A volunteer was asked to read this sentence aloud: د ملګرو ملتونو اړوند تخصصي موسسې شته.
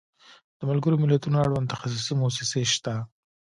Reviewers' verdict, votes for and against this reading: accepted, 2, 0